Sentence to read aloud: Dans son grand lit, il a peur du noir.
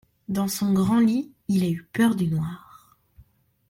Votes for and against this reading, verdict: 0, 2, rejected